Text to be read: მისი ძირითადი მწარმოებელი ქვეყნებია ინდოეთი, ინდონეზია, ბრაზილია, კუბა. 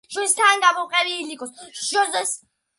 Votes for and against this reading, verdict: 0, 2, rejected